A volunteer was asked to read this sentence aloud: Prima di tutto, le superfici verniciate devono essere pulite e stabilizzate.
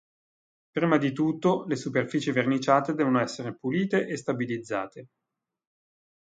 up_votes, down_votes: 2, 0